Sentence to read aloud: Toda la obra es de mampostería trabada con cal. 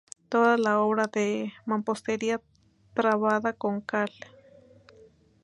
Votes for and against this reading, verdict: 0, 2, rejected